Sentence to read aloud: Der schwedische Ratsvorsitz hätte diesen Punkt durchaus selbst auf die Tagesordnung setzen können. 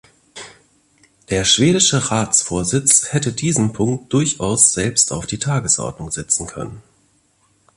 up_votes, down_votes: 2, 0